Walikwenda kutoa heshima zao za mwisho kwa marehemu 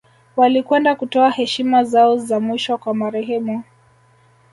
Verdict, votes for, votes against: rejected, 1, 2